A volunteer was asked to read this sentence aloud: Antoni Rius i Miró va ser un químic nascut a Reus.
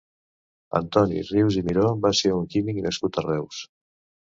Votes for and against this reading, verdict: 2, 0, accepted